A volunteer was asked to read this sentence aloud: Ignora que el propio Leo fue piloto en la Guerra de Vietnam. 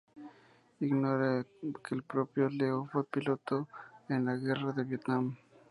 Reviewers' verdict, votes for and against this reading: accepted, 2, 0